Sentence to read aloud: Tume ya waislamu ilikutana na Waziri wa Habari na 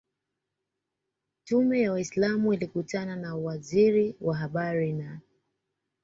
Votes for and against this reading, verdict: 0, 2, rejected